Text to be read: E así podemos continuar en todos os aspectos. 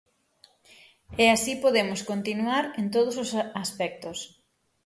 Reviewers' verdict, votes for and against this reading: rejected, 0, 6